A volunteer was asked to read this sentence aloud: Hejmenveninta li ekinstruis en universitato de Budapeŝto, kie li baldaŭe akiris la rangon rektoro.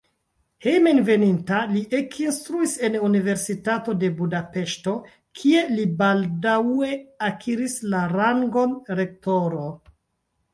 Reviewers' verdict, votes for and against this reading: rejected, 0, 2